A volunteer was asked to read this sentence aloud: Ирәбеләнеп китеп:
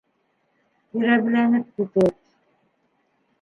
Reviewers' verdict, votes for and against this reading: rejected, 0, 2